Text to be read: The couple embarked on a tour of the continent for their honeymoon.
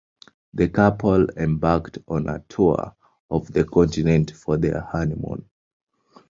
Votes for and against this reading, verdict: 2, 0, accepted